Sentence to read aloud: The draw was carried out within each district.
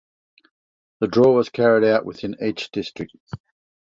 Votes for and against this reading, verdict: 2, 0, accepted